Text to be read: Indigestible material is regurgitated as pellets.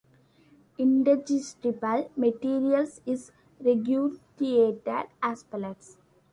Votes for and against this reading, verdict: 0, 3, rejected